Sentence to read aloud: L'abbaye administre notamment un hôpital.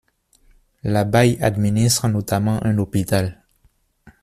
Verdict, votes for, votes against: rejected, 1, 2